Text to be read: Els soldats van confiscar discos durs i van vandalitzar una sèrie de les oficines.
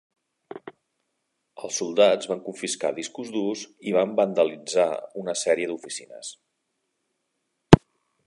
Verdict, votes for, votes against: rejected, 1, 2